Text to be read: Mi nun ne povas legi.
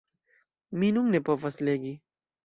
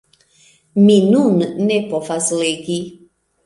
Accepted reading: second